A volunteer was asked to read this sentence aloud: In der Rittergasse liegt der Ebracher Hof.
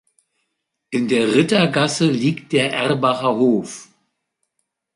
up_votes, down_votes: 1, 2